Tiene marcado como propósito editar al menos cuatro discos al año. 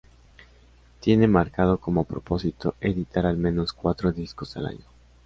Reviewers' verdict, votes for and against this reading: accepted, 2, 0